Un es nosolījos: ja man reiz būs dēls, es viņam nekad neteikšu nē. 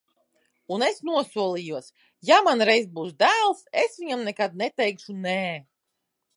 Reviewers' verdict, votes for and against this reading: accepted, 2, 0